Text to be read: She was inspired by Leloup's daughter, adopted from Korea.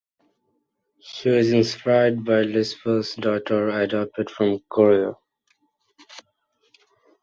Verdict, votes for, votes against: rejected, 1, 2